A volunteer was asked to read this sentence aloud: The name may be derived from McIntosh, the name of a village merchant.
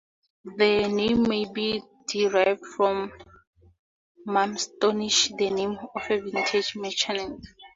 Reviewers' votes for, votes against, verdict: 0, 2, rejected